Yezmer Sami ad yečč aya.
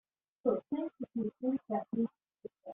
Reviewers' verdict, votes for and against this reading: rejected, 0, 2